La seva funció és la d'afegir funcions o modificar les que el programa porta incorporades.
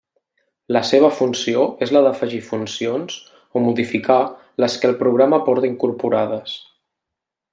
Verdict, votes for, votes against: accepted, 3, 0